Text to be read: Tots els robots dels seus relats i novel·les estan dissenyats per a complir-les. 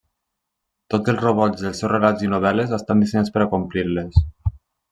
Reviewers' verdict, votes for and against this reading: accepted, 3, 0